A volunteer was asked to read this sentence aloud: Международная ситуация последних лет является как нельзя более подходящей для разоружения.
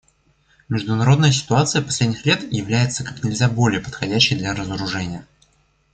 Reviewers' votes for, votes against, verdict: 2, 0, accepted